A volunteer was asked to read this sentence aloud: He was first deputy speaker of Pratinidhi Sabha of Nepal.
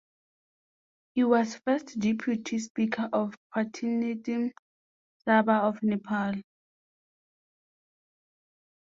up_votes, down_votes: 0, 2